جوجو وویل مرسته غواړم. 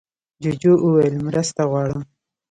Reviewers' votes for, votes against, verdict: 2, 0, accepted